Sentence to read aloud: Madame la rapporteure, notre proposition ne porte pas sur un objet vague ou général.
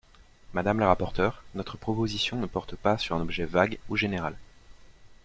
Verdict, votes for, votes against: accepted, 2, 0